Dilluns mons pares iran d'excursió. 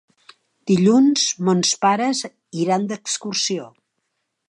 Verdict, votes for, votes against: accepted, 4, 0